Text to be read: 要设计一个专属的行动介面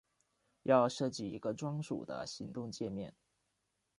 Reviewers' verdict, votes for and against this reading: accepted, 2, 0